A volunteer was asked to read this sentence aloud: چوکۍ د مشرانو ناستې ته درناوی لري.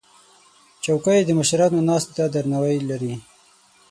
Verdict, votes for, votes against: rejected, 3, 6